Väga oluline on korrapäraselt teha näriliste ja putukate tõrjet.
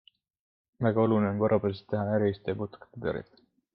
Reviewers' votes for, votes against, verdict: 2, 0, accepted